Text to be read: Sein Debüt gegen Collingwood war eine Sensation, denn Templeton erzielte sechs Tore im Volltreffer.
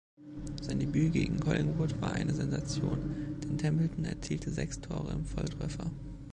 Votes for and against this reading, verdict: 2, 1, accepted